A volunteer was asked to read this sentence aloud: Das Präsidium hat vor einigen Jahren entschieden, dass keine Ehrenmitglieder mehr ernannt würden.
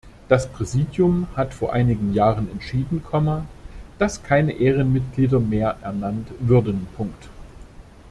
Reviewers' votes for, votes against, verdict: 0, 2, rejected